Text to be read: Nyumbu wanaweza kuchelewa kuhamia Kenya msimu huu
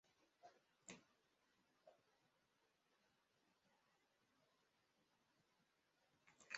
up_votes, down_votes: 0, 2